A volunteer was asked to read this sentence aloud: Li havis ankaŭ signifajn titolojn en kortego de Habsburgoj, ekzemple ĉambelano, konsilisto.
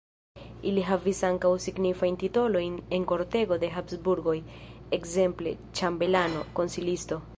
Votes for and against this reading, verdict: 2, 0, accepted